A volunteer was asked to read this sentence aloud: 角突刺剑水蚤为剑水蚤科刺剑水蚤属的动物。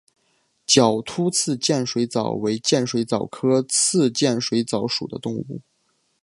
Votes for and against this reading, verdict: 7, 0, accepted